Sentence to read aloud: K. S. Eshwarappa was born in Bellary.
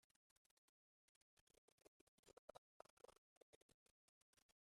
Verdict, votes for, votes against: rejected, 0, 10